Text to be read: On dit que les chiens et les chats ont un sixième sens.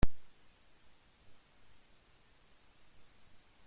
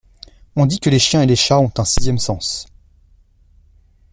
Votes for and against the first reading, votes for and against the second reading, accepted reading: 0, 2, 2, 0, second